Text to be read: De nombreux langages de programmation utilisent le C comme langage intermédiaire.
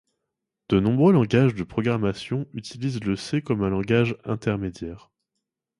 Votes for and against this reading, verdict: 0, 2, rejected